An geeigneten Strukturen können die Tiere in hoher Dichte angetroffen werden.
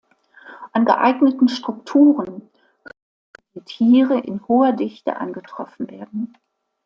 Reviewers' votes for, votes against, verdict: 1, 2, rejected